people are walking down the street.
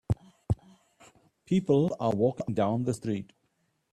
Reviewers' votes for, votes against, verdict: 2, 1, accepted